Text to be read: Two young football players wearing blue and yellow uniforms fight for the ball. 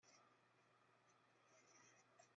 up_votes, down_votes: 2, 1